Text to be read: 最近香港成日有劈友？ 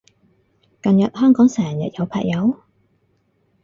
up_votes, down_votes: 0, 4